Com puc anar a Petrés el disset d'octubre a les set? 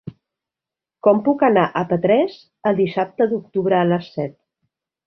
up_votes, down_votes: 0, 2